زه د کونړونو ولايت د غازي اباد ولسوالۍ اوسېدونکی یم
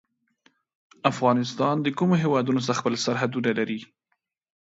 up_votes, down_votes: 1, 2